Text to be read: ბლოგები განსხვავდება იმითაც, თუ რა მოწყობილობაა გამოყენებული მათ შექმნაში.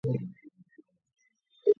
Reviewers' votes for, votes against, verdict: 0, 3, rejected